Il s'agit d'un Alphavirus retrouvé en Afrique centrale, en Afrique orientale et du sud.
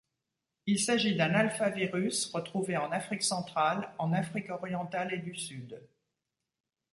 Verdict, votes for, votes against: rejected, 1, 2